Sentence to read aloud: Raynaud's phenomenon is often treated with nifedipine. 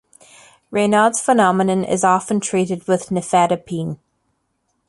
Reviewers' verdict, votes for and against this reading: accepted, 2, 0